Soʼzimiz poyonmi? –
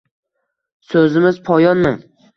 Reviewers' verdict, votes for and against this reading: accepted, 2, 0